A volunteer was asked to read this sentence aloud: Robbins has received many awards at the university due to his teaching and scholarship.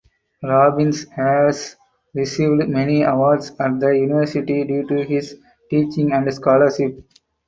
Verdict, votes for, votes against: accepted, 4, 0